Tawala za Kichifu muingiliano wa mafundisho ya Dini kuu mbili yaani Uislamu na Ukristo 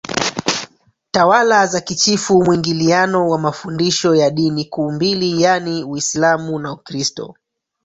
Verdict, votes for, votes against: rejected, 0, 3